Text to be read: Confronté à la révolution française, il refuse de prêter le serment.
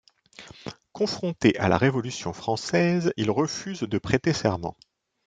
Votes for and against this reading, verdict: 0, 2, rejected